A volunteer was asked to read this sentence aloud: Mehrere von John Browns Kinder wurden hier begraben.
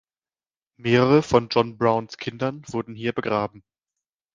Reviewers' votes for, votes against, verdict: 2, 0, accepted